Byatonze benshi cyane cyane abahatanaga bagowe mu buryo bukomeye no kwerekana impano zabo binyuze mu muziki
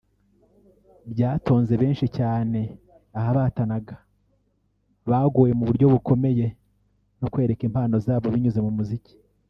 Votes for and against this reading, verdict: 1, 2, rejected